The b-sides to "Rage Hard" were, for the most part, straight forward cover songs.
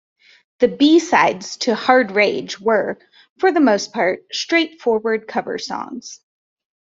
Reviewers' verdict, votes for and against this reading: rejected, 1, 2